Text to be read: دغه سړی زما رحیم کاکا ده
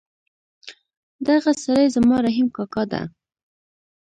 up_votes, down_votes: 1, 2